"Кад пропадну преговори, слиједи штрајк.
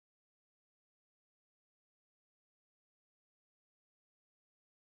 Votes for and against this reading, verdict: 0, 2, rejected